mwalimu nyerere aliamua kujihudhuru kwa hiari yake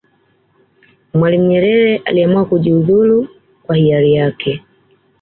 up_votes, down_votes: 2, 0